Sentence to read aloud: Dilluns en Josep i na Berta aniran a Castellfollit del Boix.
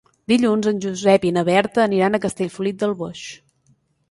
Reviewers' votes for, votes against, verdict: 3, 0, accepted